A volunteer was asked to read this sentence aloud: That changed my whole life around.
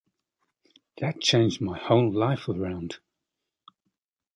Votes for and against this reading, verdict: 2, 0, accepted